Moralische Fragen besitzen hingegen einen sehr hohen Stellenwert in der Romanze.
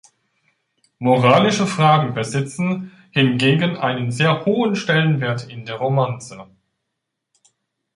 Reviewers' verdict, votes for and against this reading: accepted, 2, 1